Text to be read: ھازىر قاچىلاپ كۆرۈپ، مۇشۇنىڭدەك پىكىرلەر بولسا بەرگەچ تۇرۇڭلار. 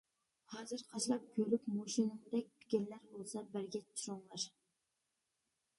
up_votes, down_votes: 1, 2